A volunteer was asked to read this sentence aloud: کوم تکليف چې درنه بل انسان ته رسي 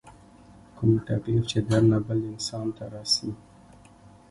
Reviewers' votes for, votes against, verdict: 2, 0, accepted